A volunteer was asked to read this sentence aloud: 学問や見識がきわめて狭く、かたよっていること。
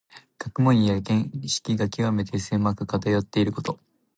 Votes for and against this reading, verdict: 2, 1, accepted